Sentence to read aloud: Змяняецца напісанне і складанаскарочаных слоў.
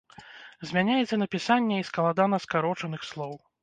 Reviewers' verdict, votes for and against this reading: rejected, 1, 2